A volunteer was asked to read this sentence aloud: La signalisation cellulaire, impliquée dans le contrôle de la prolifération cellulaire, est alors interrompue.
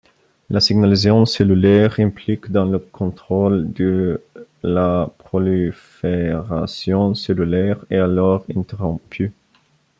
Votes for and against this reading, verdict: 1, 2, rejected